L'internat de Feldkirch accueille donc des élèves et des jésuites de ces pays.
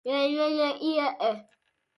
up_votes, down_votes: 0, 2